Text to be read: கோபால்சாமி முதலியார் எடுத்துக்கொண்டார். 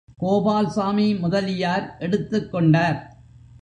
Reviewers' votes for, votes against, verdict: 2, 0, accepted